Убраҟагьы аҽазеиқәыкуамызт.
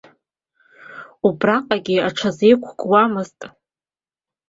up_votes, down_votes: 2, 0